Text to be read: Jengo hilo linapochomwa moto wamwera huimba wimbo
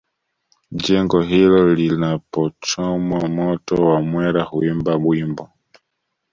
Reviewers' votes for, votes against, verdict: 2, 0, accepted